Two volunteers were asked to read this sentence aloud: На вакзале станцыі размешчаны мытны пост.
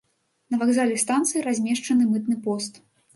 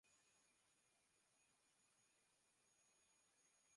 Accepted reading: first